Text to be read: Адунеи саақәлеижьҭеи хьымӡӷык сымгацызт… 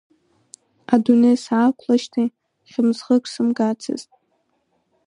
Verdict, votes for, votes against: accepted, 2, 0